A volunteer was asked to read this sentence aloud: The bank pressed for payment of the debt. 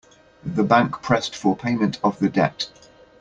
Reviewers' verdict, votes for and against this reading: accepted, 2, 0